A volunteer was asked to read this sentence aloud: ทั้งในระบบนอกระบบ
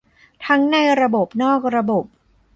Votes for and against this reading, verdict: 1, 2, rejected